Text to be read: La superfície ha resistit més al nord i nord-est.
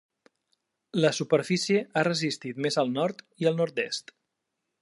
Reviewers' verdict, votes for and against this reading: rejected, 1, 2